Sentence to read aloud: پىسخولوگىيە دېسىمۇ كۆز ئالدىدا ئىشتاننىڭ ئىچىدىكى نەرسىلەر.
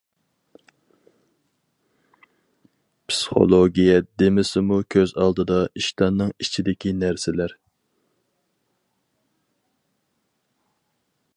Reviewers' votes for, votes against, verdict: 0, 4, rejected